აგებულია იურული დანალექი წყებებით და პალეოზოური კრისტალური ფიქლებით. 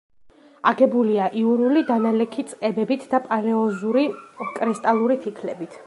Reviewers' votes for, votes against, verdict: 1, 2, rejected